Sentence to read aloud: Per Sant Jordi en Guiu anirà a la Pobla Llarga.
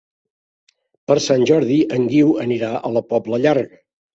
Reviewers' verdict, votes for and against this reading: accepted, 4, 0